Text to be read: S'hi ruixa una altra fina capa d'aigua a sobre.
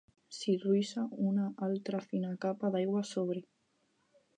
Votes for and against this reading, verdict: 4, 0, accepted